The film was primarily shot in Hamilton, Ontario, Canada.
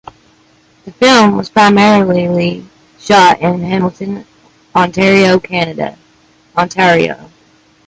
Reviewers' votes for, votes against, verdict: 1, 2, rejected